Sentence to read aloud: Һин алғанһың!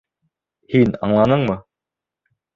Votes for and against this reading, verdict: 0, 3, rejected